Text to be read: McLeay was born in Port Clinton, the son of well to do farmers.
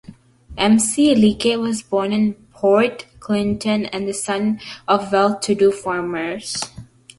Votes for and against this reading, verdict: 0, 3, rejected